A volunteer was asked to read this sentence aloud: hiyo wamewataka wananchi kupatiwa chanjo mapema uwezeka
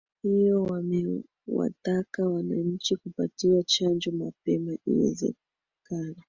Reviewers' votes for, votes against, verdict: 1, 2, rejected